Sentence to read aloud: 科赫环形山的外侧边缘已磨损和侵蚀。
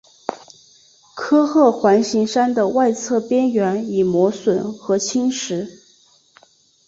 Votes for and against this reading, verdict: 3, 0, accepted